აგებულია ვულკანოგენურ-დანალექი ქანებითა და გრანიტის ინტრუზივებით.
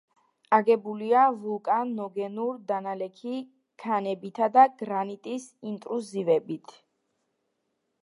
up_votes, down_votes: 1, 2